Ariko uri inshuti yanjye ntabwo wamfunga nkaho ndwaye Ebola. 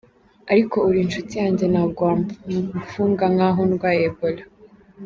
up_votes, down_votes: 2, 1